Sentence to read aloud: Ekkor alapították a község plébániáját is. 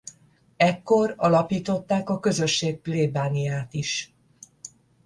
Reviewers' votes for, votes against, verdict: 0, 10, rejected